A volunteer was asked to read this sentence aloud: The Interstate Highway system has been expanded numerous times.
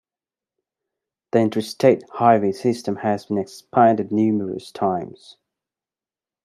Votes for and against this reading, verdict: 2, 0, accepted